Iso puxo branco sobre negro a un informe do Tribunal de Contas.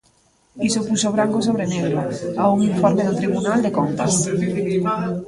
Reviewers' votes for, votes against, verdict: 1, 2, rejected